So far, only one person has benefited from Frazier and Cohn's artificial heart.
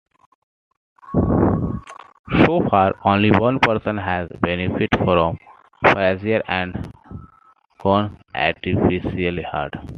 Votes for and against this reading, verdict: 2, 0, accepted